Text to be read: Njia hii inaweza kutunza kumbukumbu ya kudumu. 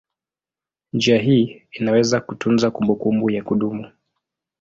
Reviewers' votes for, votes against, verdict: 2, 0, accepted